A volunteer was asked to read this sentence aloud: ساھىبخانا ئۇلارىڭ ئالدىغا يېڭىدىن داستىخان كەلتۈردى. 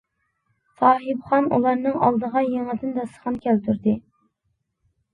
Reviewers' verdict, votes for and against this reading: rejected, 0, 2